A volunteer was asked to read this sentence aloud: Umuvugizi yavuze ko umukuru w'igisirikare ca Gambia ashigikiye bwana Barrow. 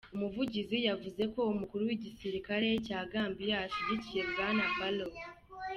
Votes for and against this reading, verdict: 3, 0, accepted